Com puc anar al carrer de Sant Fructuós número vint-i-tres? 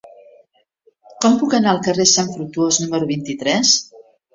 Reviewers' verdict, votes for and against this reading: rejected, 1, 2